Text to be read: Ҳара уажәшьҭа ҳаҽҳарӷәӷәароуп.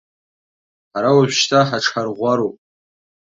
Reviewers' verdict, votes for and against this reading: accepted, 2, 0